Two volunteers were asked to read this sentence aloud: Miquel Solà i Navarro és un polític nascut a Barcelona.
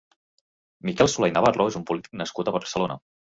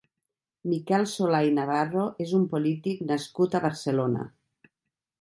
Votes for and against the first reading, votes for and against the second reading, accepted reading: 0, 2, 3, 0, second